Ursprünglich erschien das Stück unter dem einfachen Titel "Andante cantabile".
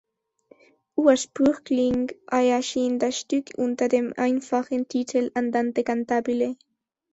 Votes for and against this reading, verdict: 0, 2, rejected